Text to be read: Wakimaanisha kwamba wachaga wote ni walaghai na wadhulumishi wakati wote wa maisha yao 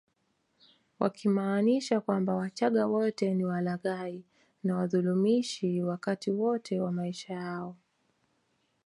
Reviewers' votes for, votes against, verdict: 3, 0, accepted